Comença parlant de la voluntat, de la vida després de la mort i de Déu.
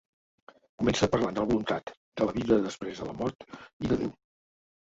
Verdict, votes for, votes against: rejected, 0, 2